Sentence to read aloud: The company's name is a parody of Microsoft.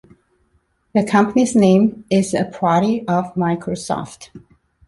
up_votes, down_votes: 0, 2